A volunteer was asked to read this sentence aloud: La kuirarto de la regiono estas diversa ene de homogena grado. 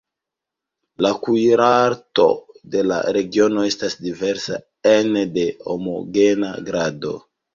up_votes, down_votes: 0, 2